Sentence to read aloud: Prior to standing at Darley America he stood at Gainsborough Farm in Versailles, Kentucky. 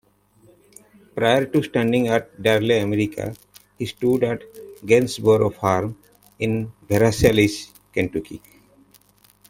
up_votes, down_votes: 1, 2